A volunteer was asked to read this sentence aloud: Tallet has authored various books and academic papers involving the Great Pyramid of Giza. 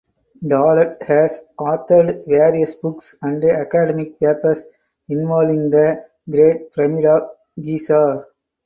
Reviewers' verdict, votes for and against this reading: accepted, 4, 2